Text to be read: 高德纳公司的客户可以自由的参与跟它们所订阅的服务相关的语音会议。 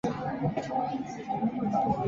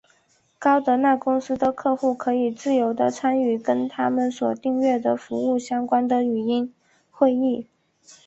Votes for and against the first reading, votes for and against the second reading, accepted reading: 1, 6, 3, 0, second